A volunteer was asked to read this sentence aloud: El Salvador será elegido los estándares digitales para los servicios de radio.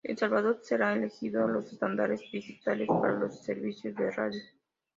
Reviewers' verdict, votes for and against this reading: rejected, 0, 2